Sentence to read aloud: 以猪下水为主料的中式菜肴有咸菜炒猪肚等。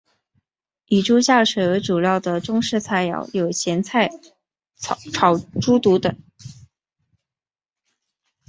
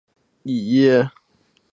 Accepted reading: first